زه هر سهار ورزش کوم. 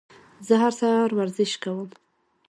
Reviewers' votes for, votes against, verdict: 2, 0, accepted